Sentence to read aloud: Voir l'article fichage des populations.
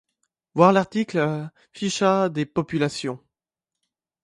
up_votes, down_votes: 2, 1